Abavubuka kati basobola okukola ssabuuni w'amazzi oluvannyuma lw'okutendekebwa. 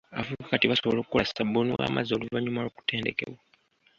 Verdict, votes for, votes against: rejected, 0, 2